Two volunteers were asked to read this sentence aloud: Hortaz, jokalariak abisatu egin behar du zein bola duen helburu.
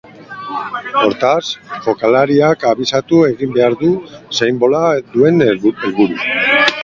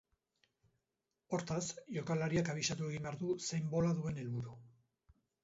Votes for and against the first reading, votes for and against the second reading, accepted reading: 0, 2, 4, 0, second